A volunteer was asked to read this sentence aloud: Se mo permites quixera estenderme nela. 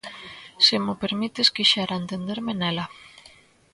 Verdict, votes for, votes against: rejected, 0, 2